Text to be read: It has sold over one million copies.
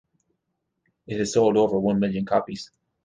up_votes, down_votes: 1, 2